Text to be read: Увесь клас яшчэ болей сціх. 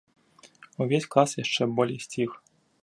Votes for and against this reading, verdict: 2, 0, accepted